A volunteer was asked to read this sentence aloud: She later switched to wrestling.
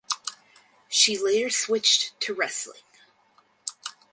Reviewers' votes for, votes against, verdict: 4, 0, accepted